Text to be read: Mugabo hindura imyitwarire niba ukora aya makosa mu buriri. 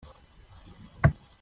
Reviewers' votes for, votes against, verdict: 0, 2, rejected